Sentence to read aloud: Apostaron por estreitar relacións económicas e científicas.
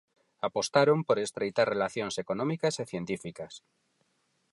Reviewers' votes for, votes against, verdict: 4, 0, accepted